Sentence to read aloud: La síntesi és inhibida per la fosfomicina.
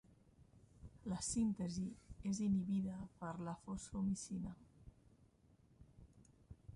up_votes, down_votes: 1, 2